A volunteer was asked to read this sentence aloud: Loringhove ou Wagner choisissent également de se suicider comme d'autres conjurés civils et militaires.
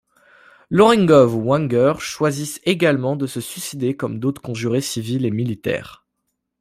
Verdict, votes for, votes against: accepted, 2, 1